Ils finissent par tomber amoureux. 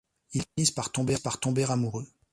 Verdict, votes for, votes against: rejected, 0, 2